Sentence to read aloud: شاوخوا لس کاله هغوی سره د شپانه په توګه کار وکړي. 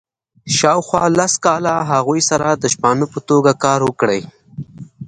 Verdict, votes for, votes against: accepted, 2, 0